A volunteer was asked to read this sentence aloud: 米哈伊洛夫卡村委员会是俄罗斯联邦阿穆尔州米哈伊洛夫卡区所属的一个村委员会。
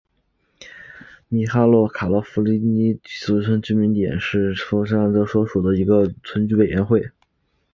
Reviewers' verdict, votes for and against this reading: accepted, 2, 0